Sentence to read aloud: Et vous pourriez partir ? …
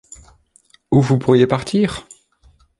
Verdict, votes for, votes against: rejected, 0, 2